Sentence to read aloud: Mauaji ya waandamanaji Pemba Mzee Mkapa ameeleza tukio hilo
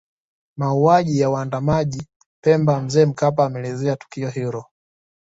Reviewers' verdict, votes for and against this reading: accepted, 2, 0